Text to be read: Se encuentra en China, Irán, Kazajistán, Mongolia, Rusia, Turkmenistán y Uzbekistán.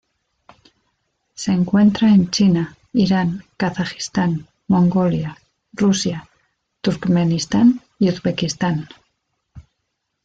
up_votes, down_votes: 2, 0